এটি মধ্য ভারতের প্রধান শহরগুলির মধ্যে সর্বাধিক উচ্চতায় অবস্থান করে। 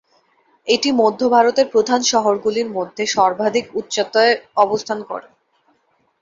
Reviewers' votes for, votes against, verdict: 2, 0, accepted